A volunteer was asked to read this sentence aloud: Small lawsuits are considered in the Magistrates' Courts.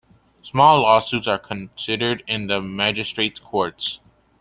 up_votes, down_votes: 2, 0